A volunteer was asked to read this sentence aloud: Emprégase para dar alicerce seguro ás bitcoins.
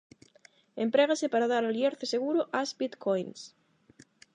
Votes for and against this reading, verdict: 0, 8, rejected